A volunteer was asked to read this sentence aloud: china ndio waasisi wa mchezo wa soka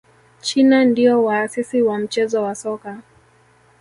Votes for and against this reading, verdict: 1, 2, rejected